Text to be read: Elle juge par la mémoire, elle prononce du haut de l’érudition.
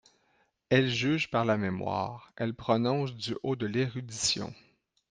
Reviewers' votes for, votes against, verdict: 2, 0, accepted